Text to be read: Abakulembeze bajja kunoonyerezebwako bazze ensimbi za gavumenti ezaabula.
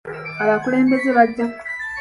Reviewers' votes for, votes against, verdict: 1, 2, rejected